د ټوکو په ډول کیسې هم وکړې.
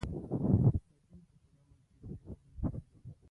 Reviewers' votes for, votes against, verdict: 0, 2, rejected